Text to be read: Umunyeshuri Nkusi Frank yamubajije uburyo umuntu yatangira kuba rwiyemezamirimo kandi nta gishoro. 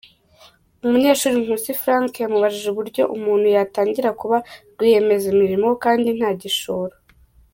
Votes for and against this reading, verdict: 2, 1, accepted